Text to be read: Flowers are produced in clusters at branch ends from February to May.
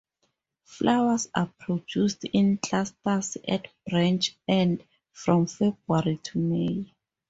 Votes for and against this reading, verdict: 2, 2, rejected